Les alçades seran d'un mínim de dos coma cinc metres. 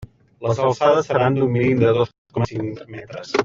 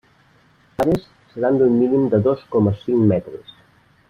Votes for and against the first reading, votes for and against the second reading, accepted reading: 2, 1, 0, 2, first